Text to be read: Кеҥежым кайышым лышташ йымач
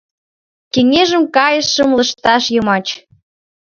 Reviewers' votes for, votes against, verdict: 2, 0, accepted